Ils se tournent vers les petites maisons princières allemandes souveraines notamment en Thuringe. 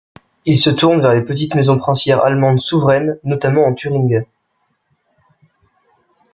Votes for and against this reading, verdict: 2, 0, accepted